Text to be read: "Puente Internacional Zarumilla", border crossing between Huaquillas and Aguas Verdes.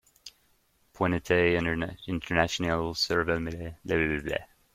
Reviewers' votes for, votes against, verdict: 0, 2, rejected